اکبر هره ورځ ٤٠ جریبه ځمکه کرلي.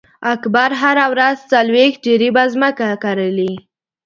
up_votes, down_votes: 0, 2